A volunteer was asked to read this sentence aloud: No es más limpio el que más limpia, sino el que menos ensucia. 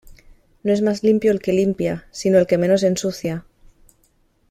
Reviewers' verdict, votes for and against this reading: rejected, 1, 2